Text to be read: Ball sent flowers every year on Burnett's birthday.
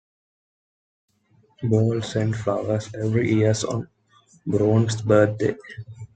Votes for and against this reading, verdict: 0, 2, rejected